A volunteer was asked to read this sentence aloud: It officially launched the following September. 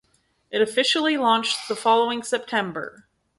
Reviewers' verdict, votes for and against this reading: accepted, 4, 0